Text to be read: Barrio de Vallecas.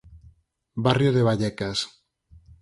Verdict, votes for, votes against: accepted, 4, 0